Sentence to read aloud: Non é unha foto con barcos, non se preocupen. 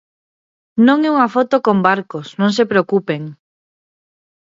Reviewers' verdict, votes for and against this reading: accepted, 2, 0